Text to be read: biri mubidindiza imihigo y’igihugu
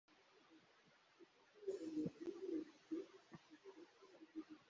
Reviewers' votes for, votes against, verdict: 0, 3, rejected